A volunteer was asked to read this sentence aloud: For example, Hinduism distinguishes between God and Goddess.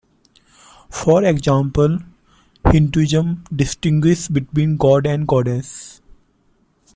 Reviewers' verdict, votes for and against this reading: rejected, 1, 2